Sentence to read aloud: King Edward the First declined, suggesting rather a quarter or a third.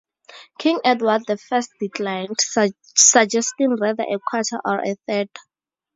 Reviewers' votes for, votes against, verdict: 2, 0, accepted